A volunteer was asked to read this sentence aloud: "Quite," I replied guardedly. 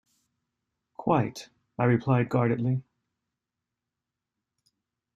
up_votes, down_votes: 2, 0